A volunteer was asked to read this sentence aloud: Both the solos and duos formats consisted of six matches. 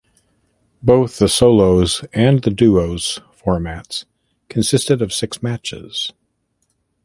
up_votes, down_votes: 1, 2